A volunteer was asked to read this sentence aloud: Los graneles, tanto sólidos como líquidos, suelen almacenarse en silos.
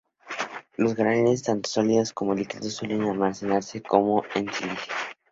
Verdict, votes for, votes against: rejected, 0, 2